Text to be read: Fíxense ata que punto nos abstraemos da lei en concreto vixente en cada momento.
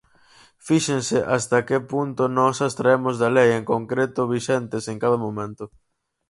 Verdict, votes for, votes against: rejected, 0, 4